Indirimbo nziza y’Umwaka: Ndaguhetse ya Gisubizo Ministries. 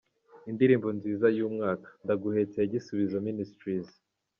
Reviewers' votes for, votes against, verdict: 2, 0, accepted